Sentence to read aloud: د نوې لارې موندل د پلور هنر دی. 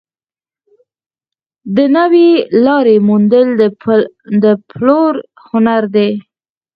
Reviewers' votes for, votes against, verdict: 4, 0, accepted